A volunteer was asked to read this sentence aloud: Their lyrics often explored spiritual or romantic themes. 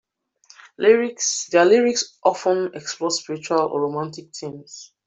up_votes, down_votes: 0, 2